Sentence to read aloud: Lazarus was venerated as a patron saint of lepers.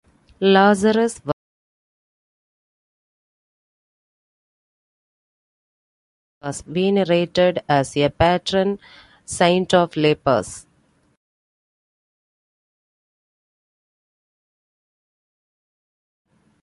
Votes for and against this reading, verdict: 0, 2, rejected